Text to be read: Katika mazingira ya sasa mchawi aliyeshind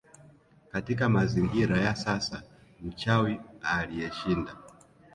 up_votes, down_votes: 2, 0